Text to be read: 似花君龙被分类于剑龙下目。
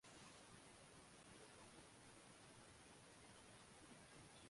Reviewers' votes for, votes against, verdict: 0, 2, rejected